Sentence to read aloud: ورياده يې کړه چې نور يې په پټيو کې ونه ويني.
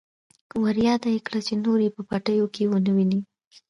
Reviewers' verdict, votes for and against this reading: accepted, 2, 1